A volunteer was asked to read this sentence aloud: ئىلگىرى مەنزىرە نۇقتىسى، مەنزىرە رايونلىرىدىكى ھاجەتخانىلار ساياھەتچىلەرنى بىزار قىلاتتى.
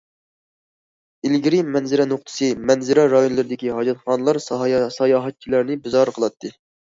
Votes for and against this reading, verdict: 0, 2, rejected